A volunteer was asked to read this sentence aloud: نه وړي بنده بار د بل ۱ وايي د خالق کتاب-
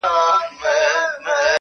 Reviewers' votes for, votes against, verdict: 0, 2, rejected